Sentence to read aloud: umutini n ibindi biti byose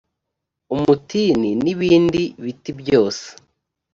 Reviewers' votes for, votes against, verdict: 2, 0, accepted